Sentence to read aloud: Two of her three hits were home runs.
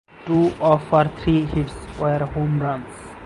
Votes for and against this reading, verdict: 0, 2, rejected